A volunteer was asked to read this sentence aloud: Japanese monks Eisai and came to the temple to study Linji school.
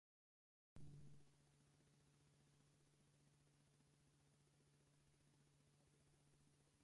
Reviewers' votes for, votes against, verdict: 0, 4, rejected